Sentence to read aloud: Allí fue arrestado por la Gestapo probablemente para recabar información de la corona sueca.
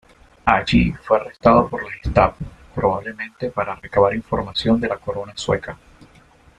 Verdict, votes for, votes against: accepted, 2, 0